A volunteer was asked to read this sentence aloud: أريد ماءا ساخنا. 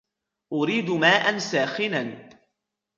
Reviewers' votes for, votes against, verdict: 2, 0, accepted